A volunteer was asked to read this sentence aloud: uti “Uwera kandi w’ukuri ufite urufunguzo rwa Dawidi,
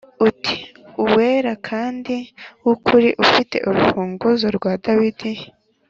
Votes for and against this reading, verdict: 2, 0, accepted